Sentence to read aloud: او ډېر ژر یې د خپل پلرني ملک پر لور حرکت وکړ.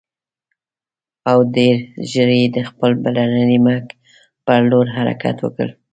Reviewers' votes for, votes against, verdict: 3, 0, accepted